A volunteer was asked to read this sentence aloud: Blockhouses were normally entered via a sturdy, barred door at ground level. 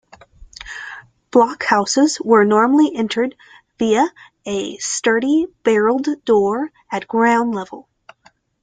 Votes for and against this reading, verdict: 2, 0, accepted